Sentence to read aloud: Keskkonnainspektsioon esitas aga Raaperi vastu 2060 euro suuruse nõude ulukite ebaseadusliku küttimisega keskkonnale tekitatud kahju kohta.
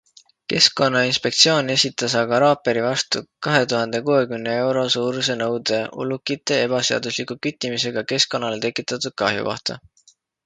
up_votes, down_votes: 0, 2